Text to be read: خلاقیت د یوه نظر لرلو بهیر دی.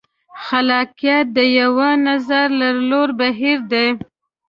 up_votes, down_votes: 1, 2